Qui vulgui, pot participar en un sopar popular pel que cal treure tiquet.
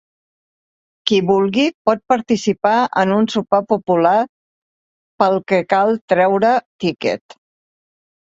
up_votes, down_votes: 2, 1